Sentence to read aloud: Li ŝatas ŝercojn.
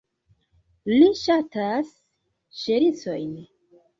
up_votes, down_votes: 1, 3